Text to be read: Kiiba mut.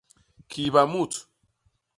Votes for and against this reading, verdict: 2, 0, accepted